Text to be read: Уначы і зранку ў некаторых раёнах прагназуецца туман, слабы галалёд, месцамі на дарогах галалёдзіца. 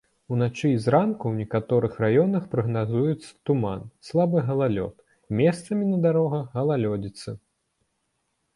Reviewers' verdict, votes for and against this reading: accepted, 2, 0